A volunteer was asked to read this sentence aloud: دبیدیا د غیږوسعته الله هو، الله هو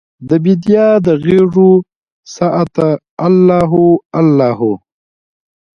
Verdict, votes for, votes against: accepted, 2, 1